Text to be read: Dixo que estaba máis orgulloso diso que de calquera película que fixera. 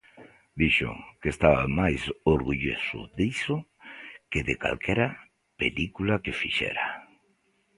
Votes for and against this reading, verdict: 2, 0, accepted